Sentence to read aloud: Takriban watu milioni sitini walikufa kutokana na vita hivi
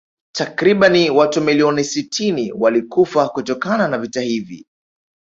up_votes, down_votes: 3, 1